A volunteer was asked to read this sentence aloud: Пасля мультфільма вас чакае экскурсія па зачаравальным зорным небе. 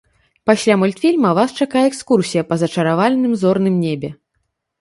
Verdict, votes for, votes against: accepted, 2, 0